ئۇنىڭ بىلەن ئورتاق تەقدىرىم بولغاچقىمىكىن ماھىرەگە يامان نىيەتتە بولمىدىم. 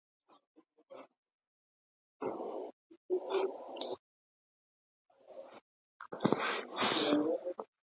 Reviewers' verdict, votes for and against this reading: rejected, 0, 2